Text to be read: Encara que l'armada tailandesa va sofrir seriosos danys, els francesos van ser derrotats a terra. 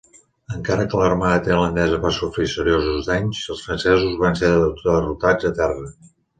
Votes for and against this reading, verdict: 2, 1, accepted